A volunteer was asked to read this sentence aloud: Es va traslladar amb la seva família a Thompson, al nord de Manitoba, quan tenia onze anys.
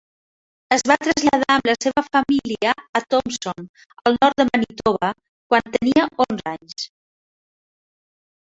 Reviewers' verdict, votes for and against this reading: accepted, 2, 1